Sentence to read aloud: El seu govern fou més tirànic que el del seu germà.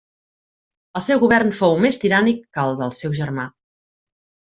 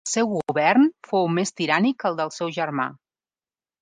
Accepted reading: first